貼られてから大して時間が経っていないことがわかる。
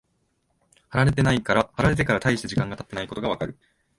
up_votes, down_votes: 1, 2